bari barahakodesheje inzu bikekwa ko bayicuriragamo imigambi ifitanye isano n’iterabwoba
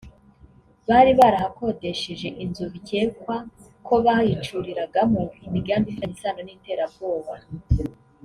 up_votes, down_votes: 3, 2